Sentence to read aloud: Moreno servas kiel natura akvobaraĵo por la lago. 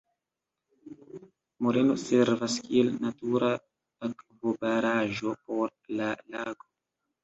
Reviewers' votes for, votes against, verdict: 0, 2, rejected